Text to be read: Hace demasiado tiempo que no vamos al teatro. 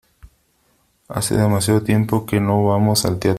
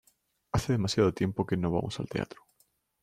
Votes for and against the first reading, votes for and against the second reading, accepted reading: 0, 3, 2, 0, second